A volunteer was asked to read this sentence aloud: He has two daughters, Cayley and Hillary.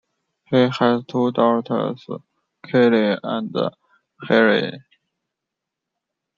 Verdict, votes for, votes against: rejected, 0, 2